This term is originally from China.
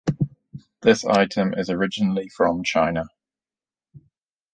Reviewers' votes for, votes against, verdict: 0, 2, rejected